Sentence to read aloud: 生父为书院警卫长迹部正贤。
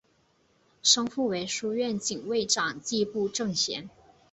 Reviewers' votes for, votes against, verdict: 2, 0, accepted